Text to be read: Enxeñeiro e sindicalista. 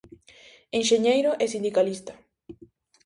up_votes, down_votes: 4, 0